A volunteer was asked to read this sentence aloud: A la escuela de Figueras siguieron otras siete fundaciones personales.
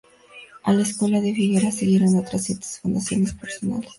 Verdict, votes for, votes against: accepted, 2, 0